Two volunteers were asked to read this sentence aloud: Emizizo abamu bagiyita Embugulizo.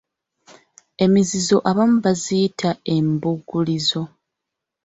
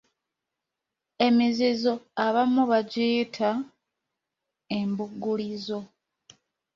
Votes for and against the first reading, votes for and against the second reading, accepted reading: 1, 2, 2, 0, second